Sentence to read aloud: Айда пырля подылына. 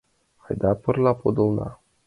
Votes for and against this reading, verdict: 2, 0, accepted